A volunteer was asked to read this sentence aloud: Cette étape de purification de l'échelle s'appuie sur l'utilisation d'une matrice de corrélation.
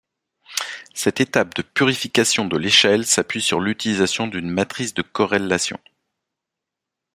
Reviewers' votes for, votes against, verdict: 2, 0, accepted